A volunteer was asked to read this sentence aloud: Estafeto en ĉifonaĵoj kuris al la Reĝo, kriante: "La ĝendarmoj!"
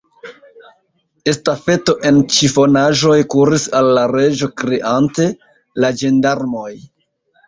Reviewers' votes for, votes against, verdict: 2, 1, accepted